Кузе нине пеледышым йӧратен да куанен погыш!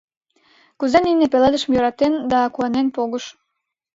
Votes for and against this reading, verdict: 2, 0, accepted